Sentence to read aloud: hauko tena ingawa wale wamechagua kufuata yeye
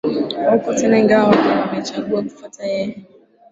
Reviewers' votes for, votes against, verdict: 0, 2, rejected